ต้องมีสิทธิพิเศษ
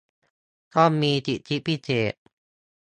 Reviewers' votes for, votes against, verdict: 1, 2, rejected